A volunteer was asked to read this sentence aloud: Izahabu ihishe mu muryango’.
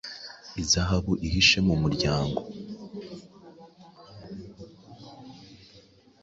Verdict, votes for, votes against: accepted, 3, 0